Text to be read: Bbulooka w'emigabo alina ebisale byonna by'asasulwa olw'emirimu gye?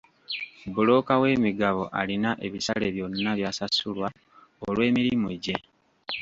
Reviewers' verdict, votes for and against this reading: rejected, 1, 2